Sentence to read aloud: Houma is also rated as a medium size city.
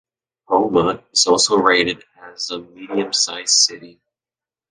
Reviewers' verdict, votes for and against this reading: accepted, 2, 0